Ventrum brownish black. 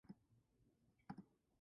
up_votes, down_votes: 0, 2